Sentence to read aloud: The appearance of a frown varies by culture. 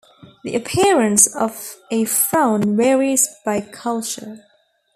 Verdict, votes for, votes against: accepted, 2, 0